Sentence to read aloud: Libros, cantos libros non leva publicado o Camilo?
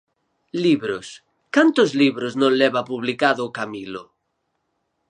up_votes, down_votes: 4, 0